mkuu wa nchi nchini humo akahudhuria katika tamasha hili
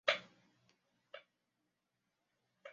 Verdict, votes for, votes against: rejected, 0, 2